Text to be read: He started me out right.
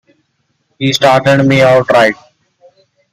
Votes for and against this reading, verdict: 2, 0, accepted